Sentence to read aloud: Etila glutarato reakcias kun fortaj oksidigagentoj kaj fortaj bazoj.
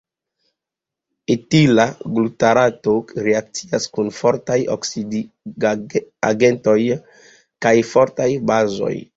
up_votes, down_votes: 1, 2